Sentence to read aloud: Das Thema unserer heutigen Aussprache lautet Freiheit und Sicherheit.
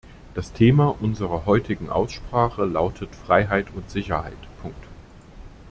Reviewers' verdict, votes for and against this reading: accepted, 2, 1